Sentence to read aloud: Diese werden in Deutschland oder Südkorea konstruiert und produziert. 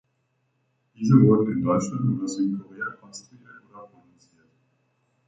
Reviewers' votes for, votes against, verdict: 0, 2, rejected